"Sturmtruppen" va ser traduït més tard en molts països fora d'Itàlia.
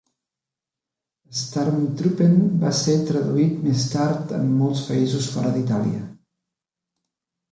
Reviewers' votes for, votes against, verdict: 1, 2, rejected